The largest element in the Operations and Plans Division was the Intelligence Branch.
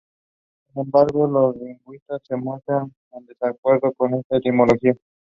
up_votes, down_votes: 0, 2